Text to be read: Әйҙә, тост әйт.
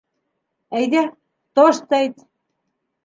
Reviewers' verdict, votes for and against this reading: rejected, 2, 3